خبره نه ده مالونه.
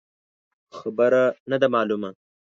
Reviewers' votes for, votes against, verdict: 1, 2, rejected